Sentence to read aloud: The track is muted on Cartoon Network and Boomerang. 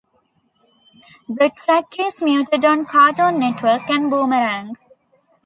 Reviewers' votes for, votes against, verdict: 2, 1, accepted